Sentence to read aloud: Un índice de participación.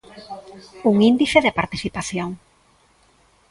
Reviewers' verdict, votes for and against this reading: accepted, 2, 0